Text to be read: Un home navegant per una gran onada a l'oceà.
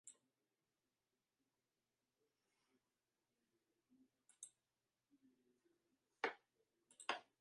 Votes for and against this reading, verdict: 0, 2, rejected